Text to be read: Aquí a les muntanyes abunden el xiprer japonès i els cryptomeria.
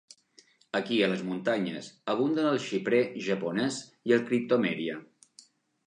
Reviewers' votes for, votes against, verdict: 0, 2, rejected